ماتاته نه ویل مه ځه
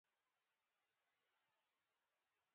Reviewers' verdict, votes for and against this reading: rejected, 1, 2